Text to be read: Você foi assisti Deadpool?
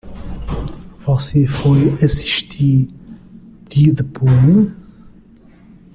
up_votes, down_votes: 0, 2